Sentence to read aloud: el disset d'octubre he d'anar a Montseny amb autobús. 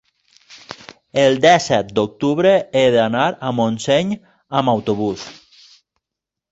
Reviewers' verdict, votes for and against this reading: rejected, 0, 2